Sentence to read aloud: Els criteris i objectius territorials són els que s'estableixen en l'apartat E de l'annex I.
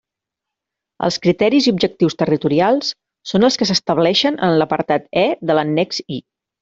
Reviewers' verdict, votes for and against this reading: accepted, 3, 0